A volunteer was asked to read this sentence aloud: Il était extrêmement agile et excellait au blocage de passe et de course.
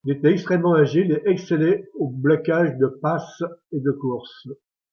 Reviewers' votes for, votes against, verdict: 2, 1, accepted